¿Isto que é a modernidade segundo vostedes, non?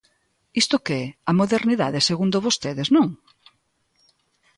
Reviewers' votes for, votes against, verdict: 2, 0, accepted